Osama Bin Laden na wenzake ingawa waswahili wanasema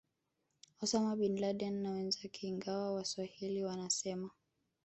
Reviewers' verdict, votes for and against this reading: rejected, 0, 2